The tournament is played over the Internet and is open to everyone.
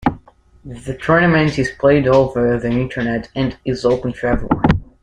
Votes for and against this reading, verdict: 2, 0, accepted